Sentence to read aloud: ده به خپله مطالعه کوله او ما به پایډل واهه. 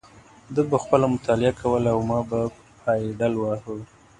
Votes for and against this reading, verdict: 1, 2, rejected